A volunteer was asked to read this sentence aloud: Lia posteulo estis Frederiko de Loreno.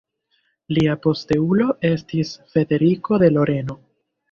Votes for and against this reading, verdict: 2, 1, accepted